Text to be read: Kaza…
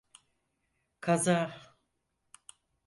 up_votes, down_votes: 4, 0